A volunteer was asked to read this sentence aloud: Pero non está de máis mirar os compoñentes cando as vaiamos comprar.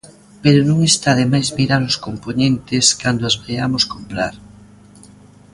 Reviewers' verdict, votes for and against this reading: accepted, 2, 0